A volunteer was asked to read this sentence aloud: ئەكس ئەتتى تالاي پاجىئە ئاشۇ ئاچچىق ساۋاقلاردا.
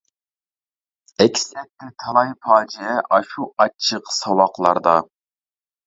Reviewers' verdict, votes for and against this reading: rejected, 0, 2